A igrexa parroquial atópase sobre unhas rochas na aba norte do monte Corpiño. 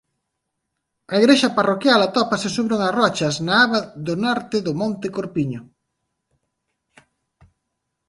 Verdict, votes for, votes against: rejected, 1, 2